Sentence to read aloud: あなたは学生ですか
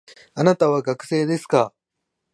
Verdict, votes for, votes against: accepted, 2, 0